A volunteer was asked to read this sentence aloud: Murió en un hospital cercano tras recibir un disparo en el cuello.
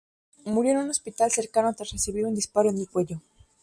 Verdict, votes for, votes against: rejected, 0, 2